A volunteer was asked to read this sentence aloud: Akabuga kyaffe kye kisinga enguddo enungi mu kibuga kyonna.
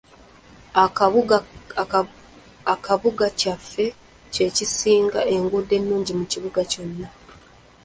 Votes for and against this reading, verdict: 1, 2, rejected